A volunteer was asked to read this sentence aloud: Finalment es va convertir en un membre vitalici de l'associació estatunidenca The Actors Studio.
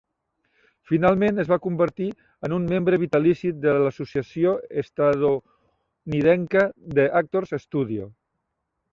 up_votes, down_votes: 0, 2